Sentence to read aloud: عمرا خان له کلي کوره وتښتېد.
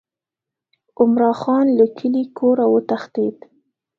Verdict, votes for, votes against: accepted, 2, 0